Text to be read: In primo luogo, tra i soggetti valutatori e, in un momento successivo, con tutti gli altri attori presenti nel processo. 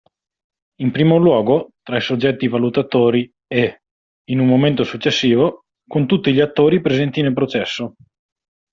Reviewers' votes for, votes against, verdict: 1, 2, rejected